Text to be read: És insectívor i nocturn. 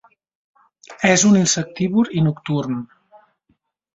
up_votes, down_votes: 0, 2